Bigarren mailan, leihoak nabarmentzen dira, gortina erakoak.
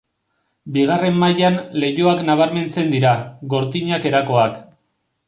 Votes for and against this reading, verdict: 0, 2, rejected